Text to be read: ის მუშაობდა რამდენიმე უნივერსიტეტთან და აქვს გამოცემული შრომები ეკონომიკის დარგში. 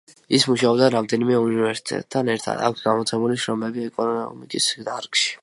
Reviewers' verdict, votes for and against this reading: rejected, 1, 2